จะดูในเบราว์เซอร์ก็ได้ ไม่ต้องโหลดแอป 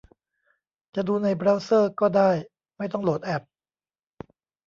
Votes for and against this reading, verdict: 1, 2, rejected